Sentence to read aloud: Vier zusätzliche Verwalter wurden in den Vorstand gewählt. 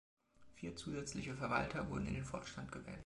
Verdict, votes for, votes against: accepted, 3, 2